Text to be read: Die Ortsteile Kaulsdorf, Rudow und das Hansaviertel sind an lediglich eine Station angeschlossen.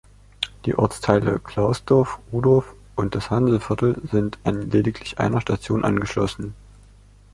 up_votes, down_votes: 1, 2